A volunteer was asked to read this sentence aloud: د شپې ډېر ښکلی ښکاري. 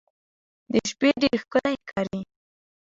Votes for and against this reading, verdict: 0, 2, rejected